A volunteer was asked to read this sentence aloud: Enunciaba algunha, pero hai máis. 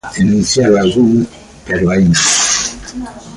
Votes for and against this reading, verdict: 0, 2, rejected